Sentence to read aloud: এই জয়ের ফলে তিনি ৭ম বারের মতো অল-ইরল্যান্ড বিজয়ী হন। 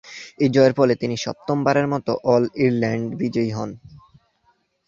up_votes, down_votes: 0, 2